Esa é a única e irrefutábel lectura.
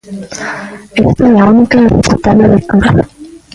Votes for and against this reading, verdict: 0, 2, rejected